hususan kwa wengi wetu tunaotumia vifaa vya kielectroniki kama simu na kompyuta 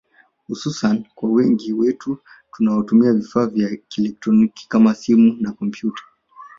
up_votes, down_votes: 1, 2